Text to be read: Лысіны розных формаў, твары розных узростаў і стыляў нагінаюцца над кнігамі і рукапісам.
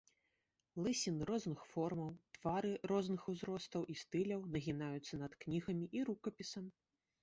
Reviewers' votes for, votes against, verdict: 2, 1, accepted